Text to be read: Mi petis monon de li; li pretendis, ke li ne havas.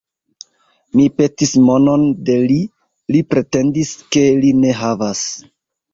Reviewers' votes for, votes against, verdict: 2, 1, accepted